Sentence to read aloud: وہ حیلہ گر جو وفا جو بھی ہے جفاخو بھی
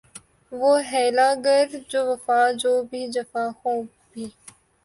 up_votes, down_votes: 2, 1